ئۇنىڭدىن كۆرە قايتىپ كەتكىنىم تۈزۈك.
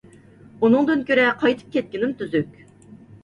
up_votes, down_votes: 2, 0